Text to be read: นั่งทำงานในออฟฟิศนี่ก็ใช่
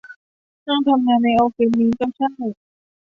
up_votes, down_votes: 1, 2